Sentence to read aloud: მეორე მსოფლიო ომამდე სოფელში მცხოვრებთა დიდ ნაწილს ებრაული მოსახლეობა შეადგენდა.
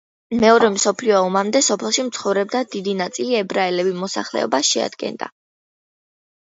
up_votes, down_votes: 0, 2